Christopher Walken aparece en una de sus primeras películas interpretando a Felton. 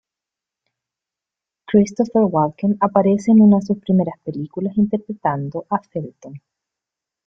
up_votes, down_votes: 1, 2